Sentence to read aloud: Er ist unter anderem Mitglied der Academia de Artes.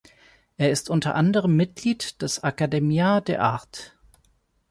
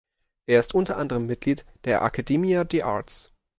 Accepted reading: second